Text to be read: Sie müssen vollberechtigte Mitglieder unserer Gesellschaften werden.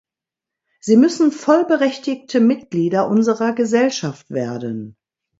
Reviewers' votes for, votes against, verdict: 1, 2, rejected